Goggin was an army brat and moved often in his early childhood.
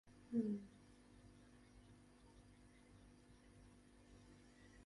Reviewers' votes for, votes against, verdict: 0, 4, rejected